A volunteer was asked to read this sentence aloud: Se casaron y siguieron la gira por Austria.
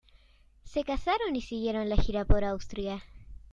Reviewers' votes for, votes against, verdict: 2, 0, accepted